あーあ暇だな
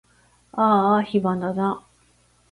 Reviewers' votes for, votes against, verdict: 2, 0, accepted